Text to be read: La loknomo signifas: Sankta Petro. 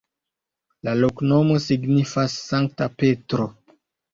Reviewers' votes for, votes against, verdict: 2, 0, accepted